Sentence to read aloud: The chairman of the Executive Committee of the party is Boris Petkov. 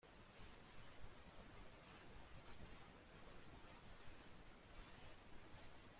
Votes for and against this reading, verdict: 0, 2, rejected